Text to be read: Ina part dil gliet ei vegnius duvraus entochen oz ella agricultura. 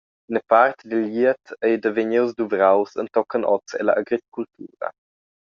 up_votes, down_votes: 0, 2